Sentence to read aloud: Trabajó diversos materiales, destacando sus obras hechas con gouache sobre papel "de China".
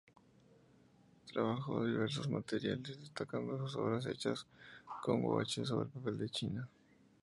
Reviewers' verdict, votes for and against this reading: rejected, 0, 2